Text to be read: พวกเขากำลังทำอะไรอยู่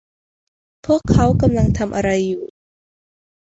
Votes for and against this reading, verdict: 1, 2, rejected